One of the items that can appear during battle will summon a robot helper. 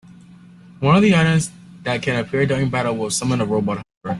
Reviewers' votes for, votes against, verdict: 0, 2, rejected